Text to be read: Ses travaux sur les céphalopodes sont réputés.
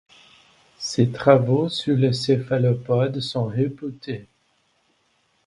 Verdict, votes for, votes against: accepted, 2, 0